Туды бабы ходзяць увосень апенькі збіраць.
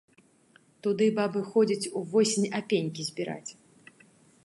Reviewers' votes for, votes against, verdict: 2, 0, accepted